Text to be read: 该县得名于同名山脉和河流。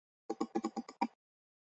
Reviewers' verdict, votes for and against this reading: rejected, 0, 3